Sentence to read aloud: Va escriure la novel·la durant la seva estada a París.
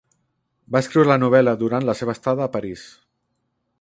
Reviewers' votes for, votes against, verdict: 1, 2, rejected